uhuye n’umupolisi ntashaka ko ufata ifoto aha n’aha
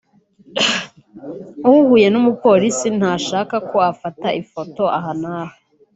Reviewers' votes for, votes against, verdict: 2, 0, accepted